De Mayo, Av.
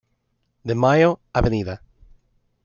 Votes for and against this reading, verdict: 2, 1, accepted